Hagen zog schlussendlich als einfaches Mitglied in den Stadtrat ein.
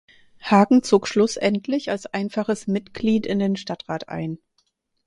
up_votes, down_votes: 4, 0